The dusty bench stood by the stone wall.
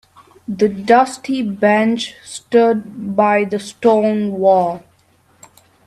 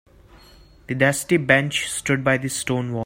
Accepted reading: first